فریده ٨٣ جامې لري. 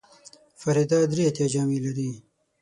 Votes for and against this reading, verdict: 0, 2, rejected